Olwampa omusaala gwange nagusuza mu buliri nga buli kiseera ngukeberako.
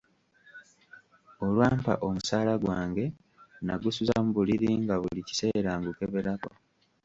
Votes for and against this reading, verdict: 0, 2, rejected